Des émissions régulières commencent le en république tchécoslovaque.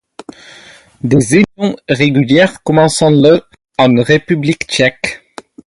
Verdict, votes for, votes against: rejected, 2, 2